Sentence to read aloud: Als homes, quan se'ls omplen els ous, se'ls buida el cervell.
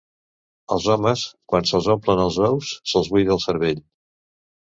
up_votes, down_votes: 2, 0